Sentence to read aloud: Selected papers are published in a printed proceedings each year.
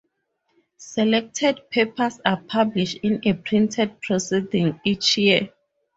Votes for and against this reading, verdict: 0, 2, rejected